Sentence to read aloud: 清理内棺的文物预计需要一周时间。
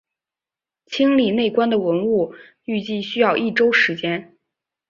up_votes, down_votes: 6, 0